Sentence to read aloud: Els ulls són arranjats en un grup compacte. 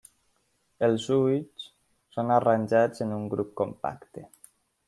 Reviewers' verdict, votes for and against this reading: accepted, 2, 0